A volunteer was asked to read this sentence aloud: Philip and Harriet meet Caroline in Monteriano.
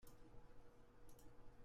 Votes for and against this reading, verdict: 0, 2, rejected